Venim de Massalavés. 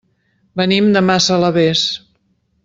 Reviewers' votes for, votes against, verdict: 3, 0, accepted